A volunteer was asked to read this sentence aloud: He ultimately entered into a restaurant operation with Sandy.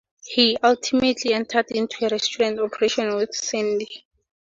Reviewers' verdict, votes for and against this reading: accepted, 2, 0